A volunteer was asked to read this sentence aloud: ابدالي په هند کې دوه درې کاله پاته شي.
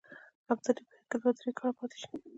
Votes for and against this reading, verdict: 0, 2, rejected